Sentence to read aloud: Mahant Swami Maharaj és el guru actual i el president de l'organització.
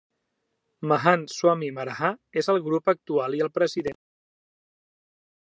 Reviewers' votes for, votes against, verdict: 0, 2, rejected